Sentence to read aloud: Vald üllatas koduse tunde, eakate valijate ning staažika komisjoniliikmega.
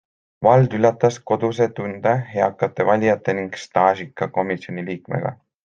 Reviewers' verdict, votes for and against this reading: accepted, 2, 0